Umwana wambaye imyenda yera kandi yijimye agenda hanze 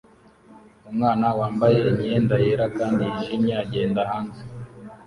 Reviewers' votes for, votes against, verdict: 2, 0, accepted